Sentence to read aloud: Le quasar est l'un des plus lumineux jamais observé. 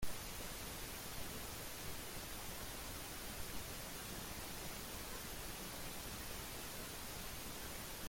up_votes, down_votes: 0, 2